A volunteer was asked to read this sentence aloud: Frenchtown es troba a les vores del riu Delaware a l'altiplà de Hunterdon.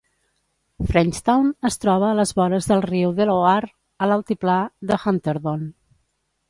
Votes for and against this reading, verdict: 1, 2, rejected